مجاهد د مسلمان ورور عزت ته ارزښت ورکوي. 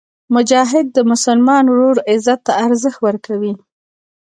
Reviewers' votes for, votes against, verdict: 2, 0, accepted